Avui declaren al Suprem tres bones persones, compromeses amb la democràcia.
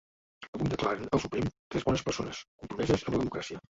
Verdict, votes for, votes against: rejected, 0, 2